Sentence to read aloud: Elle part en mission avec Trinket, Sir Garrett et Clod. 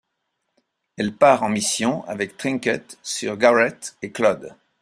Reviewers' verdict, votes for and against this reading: accepted, 2, 0